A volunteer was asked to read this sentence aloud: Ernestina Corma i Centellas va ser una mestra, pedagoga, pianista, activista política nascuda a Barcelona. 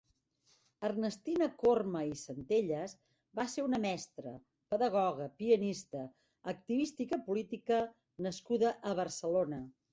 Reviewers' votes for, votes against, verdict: 3, 4, rejected